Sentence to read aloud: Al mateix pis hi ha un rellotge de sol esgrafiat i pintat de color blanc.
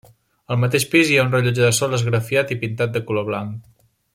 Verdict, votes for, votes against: accepted, 3, 0